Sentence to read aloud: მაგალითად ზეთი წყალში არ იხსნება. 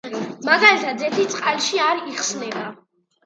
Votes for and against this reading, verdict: 2, 0, accepted